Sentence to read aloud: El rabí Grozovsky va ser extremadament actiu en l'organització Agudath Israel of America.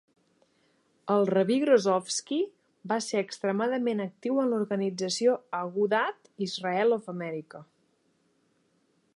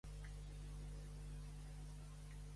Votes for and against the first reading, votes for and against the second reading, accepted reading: 3, 1, 0, 2, first